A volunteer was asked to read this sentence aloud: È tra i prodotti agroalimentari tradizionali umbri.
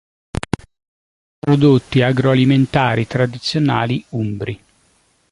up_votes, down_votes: 0, 2